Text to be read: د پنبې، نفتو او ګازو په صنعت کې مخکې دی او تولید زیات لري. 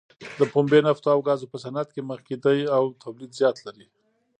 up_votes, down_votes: 2, 0